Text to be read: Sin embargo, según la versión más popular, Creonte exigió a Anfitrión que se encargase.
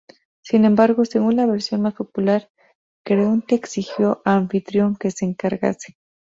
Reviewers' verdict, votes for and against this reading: rejected, 0, 2